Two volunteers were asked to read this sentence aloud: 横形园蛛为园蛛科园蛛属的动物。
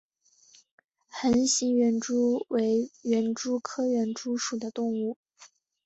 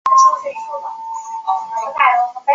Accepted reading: first